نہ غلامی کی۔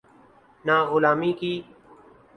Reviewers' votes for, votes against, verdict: 2, 0, accepted